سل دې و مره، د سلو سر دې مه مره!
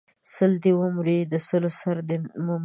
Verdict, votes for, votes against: rejected, 0, 2